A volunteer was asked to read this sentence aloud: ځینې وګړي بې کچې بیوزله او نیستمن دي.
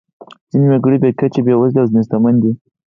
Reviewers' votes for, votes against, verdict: 2, 4, rejected